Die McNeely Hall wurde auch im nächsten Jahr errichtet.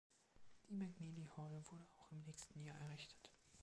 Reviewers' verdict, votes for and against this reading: rejected, 1, 2